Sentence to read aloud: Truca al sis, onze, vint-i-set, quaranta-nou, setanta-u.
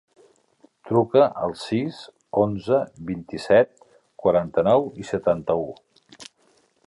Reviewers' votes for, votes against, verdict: 0, 2, rejected